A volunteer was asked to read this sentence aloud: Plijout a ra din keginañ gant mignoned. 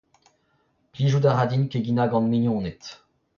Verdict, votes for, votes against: rejected, 0, 2